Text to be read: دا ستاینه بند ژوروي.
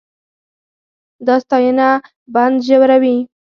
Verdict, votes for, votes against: accepted, 4, 2